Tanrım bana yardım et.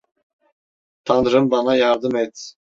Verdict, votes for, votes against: accepted, 2, 0